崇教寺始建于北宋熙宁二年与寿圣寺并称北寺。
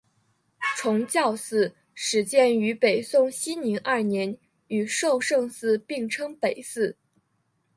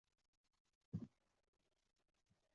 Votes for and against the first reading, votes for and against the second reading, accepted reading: 7, 1, 0, 4, first